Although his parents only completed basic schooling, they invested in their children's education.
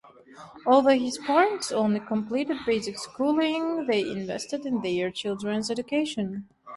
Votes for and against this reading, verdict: 2, 0, accepted